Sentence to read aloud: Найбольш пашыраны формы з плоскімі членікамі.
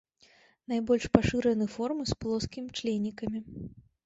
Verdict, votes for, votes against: accepted, 3, 2